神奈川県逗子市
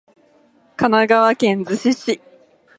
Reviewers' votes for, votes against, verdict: 2, 0, accepted